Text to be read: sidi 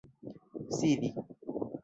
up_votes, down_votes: 1, 2